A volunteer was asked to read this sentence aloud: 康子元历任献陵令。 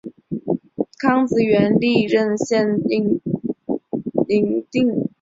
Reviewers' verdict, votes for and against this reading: accepted, 3, 2